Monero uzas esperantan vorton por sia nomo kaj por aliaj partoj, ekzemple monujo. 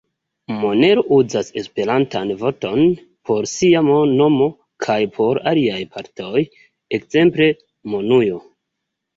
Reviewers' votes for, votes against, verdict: 2, 1, accepted